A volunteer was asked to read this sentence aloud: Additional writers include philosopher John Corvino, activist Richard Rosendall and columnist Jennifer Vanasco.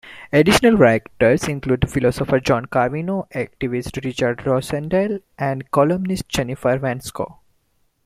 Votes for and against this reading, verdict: 0, 2, rejected